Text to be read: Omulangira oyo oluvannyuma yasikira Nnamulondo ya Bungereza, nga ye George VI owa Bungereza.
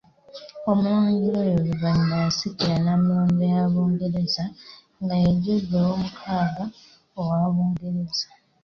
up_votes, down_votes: 2, 0